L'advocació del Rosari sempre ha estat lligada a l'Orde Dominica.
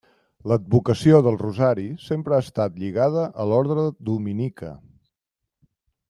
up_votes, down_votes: 1, 2